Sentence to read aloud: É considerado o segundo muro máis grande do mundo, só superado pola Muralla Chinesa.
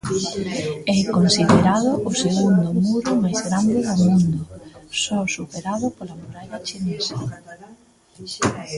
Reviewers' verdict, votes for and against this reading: rejected, 1, 2